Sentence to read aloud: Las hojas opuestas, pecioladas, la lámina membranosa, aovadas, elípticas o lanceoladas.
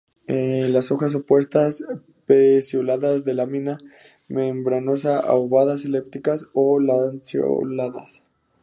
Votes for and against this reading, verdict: 2, 0, accepted